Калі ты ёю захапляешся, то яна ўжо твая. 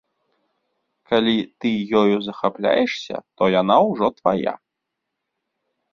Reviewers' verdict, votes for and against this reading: accepted, 2, 0